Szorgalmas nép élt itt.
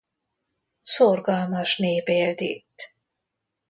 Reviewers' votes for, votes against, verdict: 2, 0, accepted